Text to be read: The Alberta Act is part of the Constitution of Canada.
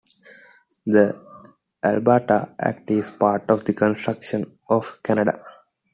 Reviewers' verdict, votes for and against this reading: rejected, 0, 2